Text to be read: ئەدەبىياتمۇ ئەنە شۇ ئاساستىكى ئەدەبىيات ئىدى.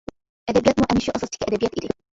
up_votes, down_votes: 1, 2